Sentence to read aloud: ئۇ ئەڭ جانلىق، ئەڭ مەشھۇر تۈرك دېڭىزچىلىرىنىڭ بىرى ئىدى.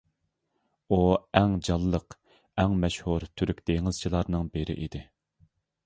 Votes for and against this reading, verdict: 0, 2, rejected